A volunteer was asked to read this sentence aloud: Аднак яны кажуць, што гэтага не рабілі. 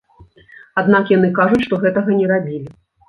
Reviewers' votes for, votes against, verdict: 2, 0, accepted